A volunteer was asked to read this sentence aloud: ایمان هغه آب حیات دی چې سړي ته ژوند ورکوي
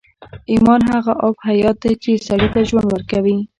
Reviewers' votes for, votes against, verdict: 0, 2, rejected